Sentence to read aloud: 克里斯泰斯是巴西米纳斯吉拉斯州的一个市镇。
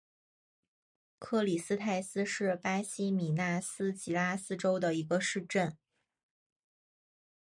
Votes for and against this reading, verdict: 2, 0, accepted